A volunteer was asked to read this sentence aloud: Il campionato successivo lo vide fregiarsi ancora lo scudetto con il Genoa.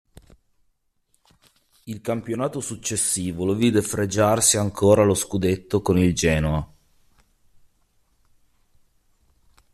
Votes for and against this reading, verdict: 2, 0, accepted